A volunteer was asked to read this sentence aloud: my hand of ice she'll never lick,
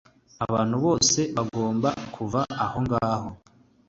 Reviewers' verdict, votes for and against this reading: rejected, 1, 2